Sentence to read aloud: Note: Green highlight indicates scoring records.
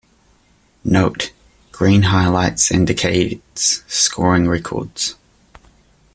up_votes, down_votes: 1, 2